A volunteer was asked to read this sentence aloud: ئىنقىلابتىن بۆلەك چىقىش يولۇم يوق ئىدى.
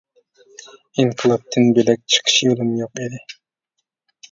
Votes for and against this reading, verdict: 2, 0, accepted